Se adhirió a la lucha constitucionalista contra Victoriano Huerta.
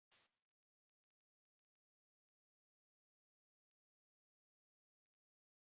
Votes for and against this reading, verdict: 0, 2, rejected